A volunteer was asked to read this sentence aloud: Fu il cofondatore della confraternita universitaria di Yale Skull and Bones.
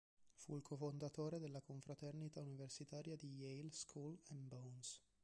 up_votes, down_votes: 2, 3